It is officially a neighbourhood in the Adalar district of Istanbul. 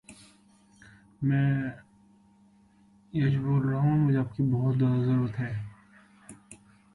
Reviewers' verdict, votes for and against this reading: rejected, 0, 2